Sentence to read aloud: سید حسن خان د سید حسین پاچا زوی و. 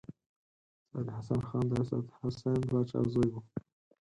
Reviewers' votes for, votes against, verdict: 0, 4, rejected